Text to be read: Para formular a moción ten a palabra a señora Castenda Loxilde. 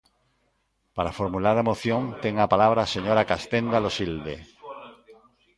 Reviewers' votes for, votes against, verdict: 1, 2, rejected